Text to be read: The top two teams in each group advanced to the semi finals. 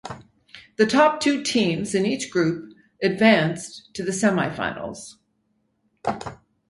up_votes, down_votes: 6, 0